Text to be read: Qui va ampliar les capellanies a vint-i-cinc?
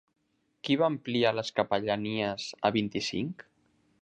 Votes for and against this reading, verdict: 3, 0, accepted